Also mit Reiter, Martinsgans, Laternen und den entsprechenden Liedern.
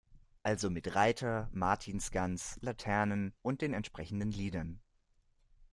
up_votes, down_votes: 2, 0